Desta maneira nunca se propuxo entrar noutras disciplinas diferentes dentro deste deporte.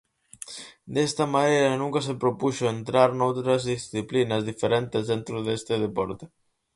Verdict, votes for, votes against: rejected, 0, 4